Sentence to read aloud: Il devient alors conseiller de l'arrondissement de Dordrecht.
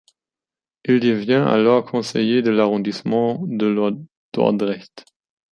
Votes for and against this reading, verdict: 1, 2, rejected